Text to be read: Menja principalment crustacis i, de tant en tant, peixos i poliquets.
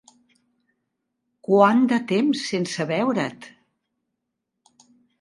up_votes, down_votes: 0, 2